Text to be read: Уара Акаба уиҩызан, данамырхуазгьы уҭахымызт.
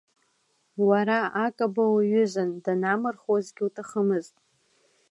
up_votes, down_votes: 2, 1